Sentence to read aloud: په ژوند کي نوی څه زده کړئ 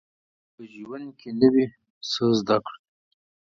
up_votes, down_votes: 2, 4